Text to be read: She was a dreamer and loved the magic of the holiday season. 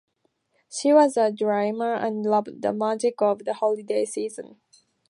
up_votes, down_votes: 0, 2